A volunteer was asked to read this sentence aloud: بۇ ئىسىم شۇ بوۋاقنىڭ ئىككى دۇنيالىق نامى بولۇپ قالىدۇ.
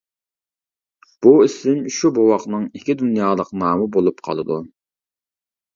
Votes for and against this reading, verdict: 2, 0, accepted